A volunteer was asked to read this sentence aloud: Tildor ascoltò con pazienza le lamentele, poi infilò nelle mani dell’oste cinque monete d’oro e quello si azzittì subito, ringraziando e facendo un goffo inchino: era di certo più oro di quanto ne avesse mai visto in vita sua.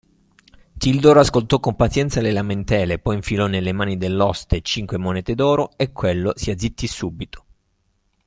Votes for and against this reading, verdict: 1, 2, rejected